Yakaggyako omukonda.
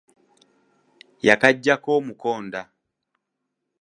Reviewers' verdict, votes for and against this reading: accepted, 2, 0